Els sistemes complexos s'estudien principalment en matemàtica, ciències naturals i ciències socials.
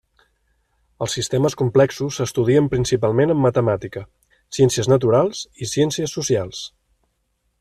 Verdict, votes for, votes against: accepted, 3, 0